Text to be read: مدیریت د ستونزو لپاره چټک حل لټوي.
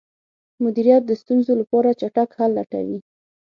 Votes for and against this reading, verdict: 6, 0, accepted